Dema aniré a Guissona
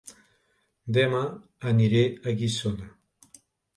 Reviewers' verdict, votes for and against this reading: rejected, 1, 2